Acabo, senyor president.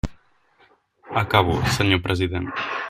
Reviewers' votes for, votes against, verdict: 3, 0, accepted